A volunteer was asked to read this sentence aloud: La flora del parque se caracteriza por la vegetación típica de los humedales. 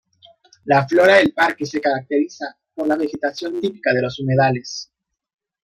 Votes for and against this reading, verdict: 0, 2, rejected